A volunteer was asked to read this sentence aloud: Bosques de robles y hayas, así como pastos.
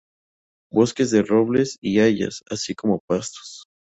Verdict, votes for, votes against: accepted, 2, 0